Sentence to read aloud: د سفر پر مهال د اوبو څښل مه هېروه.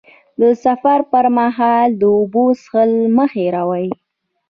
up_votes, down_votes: 0, 2